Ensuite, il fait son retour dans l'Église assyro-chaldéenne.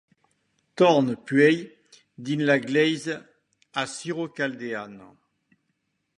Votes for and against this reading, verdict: 0, 2, rejected